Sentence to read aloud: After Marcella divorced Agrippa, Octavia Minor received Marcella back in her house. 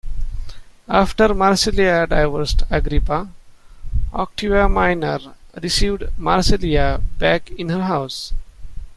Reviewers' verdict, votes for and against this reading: rejected, 0, 3